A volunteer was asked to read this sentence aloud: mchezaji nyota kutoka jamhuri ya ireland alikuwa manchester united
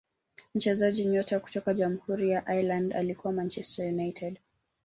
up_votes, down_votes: 2, 3